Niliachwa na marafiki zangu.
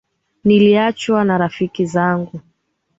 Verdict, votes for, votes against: rejected, 0, 2